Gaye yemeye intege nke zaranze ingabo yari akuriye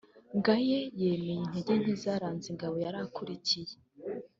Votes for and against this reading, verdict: 1, 2, rejected